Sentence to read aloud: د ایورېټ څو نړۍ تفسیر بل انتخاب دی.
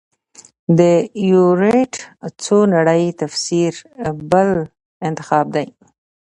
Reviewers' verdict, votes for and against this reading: accepted, 2, 0